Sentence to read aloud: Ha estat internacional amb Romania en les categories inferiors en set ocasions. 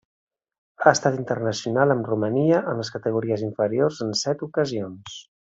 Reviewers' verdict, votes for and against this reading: accepted, 3, 0